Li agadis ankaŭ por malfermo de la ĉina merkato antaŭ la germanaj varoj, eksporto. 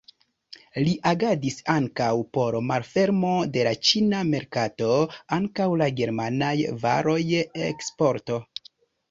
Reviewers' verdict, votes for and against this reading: accepted, 2, 1